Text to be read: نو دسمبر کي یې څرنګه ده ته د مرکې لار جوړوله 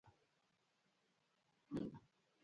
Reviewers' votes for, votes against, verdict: 0, 2, rejected